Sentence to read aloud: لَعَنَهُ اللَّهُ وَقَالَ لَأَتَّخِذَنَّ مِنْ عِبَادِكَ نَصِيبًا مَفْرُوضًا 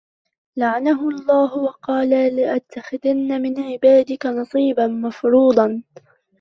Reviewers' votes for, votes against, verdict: 0, 2, rejected